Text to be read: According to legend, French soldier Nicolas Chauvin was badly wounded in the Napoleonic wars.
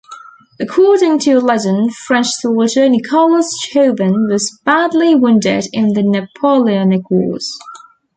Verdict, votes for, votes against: accepted, 2, 1